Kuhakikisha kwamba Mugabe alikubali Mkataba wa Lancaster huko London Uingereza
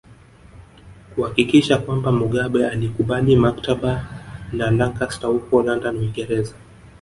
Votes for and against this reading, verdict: 1, 2, rejected